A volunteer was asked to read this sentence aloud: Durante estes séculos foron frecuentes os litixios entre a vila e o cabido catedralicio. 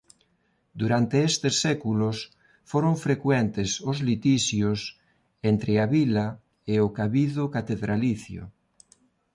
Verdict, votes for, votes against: accepted, 2, 0